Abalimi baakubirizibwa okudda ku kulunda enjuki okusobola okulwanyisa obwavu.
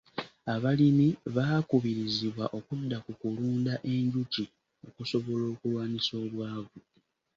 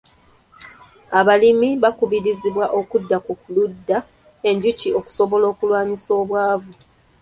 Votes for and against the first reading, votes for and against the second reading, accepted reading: 2, 0, 1, 2, first